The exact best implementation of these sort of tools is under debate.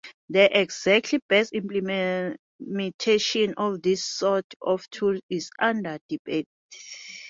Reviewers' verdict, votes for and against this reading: rejected, 0, 2